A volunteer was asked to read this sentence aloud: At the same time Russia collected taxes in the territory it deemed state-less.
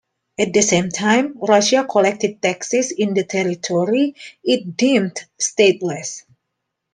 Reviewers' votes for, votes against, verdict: 2, 0, accepted